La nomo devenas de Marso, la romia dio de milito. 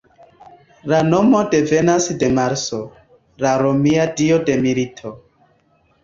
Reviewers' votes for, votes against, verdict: 2, 0, accepted